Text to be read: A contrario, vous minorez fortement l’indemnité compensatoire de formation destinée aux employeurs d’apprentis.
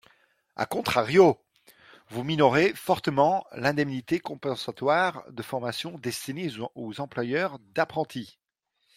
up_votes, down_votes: 1, 2